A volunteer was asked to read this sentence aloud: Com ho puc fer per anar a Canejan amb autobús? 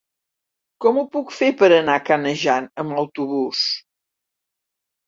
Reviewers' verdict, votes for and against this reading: rejected, 1, 2